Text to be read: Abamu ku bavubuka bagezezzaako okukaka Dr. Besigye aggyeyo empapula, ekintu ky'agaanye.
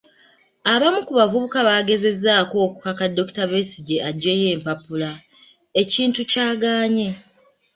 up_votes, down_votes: 2, 0